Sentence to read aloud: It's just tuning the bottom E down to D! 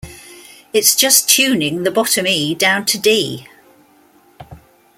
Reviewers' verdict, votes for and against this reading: accepted, 2, 0